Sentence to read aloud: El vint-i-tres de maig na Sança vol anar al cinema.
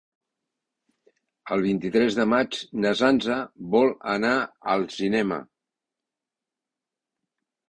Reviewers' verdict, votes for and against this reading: accepted, 3, 0